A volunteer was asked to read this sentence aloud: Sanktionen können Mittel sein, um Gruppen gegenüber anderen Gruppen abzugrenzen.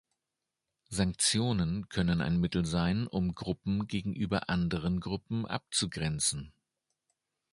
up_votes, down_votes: 1, 2